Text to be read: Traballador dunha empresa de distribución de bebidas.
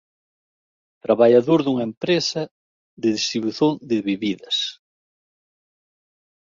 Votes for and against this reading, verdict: 0, 2, rejected